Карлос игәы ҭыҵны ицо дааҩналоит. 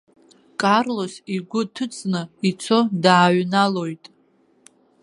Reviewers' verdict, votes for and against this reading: accepted, 2, 1